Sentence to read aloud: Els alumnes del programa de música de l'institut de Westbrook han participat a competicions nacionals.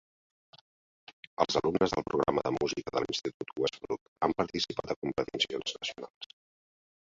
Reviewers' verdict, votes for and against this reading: rejected, 1, 2